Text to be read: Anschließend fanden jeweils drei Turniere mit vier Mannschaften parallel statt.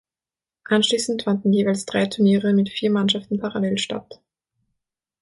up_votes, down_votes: 6, 0